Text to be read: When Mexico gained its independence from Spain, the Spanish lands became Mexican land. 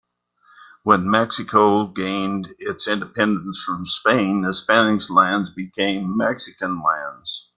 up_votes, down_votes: 1, 2